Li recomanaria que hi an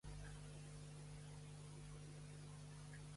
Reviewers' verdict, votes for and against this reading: rejected, 1, 2